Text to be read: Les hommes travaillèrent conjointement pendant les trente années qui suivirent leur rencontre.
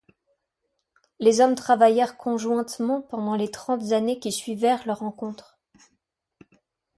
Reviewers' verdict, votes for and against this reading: rejected, 1, 2